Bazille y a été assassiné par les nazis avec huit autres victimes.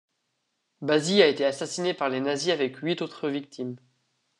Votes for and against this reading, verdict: 1, 2, rejected